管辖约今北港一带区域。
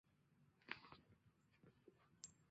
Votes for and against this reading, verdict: 0, 2, rejected